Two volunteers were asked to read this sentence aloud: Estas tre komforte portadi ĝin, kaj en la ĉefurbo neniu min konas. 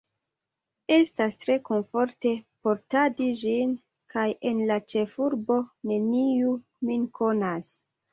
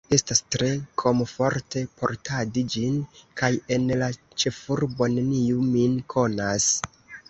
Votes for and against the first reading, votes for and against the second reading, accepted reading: 2, 0, 0, 2, first